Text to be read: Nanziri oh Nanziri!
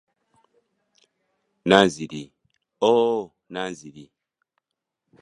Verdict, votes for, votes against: accepted, 2, 0